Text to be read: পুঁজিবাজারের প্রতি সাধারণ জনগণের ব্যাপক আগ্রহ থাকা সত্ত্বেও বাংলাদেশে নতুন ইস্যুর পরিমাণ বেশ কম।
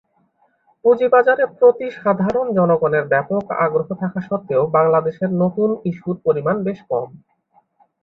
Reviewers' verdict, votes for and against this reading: accepted, 2, 0